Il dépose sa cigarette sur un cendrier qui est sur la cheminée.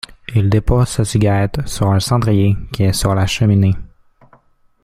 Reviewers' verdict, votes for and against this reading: accepted, 2, 1